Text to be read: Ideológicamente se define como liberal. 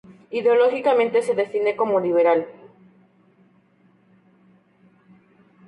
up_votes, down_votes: 2, 0